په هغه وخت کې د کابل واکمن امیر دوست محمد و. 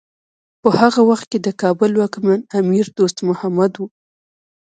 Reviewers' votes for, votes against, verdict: 1, 2, rejected